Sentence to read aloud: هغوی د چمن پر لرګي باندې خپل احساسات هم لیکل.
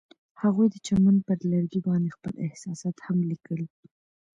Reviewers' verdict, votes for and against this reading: accepted, 2, 0